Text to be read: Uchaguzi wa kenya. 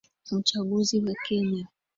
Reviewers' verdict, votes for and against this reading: accepted, 2, 1